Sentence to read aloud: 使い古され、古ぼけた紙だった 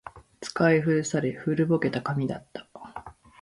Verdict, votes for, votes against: accepted, 14, 0